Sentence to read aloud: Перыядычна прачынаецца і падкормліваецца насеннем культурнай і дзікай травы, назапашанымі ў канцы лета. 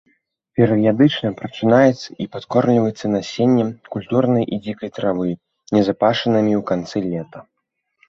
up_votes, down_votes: 2, 1